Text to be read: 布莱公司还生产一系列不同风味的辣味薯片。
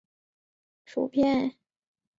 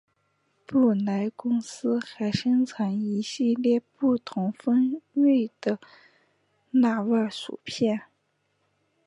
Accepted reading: second